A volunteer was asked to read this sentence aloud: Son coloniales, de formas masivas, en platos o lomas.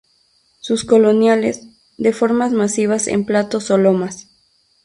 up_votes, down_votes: 0, 2